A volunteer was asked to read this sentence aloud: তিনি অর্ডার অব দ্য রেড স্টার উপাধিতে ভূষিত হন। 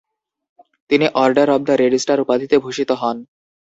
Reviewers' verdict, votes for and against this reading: accepted, 2, 0